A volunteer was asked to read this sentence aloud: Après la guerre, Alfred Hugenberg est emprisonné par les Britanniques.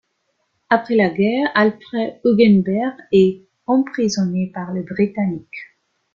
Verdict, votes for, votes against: rejected, 1, 2